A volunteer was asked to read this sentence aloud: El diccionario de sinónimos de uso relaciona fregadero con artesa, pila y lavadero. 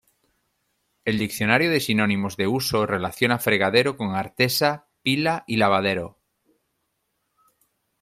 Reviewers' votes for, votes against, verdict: 2, 0, accepted